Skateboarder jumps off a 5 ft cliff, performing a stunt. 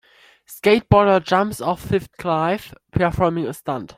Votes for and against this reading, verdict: 0, 2, rejected